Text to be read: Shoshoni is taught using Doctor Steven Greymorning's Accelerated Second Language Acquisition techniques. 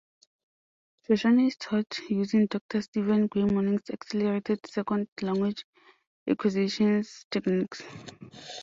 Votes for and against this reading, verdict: 1, 2, rejected